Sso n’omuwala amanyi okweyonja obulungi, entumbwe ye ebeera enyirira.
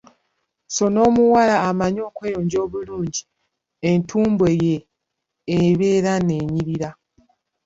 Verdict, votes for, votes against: rejected, 0, 2